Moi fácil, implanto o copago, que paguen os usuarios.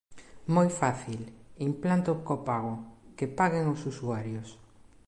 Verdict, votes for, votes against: rejected, 1, 2